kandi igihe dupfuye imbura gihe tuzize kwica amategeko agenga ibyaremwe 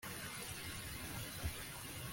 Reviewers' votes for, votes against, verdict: 1, 2, rejected